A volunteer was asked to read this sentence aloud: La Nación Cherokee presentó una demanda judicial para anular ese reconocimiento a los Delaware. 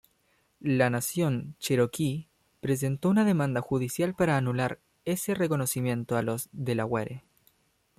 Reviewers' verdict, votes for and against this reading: rejected, 0, 2